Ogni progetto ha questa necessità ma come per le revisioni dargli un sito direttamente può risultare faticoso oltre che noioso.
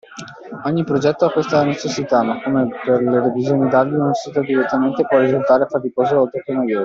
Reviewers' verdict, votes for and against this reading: rejected, 0, 2